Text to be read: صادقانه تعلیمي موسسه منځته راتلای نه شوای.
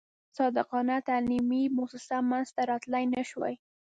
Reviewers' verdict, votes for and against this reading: rejected, 1, 2